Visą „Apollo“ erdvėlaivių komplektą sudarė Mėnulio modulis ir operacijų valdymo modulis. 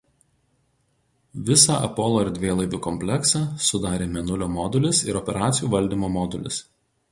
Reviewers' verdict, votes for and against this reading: rejected, 0, 4